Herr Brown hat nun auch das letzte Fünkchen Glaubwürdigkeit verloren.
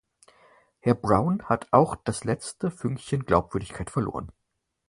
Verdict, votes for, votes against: rejected, 0, 4